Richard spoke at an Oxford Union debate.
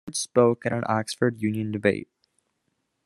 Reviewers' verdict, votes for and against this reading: rejected, 0, 2